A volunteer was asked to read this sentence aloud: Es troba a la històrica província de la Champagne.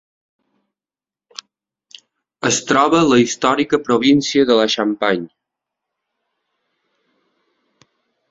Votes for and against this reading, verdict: 2, 3, rejected